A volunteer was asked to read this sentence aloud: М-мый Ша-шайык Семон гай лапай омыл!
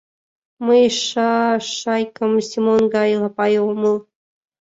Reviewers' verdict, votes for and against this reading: rejected, 0, 2